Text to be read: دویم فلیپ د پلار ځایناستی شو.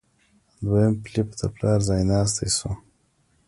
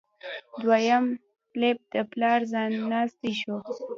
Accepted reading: first